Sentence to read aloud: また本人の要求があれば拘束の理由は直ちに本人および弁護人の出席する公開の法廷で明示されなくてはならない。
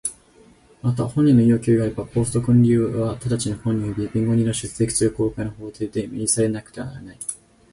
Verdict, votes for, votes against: rejected, 2, 4